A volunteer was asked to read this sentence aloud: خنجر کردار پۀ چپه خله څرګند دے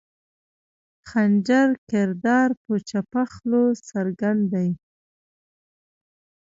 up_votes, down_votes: 1, 2